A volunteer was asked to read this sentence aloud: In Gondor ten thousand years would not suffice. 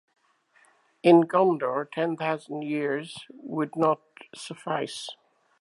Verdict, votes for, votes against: accepted, 2, 0